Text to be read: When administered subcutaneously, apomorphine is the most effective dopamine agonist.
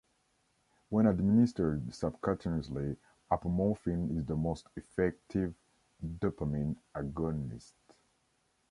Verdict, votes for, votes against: rejected, 2, 3